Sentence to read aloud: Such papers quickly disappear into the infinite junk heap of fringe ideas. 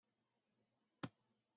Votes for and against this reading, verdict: 0, 3, rejected